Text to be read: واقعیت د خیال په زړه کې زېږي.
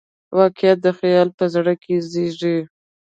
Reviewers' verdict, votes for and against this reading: rejected, 1, 2